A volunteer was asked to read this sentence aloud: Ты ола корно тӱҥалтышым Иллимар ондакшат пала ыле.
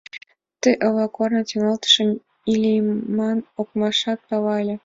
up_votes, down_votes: 1, 2